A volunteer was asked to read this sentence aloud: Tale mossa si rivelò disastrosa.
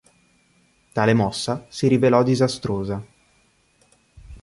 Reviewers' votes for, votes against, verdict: 2, 0, accepted